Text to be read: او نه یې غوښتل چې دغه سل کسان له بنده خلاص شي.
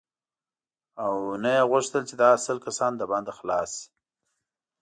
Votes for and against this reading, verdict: 2, 1, accepted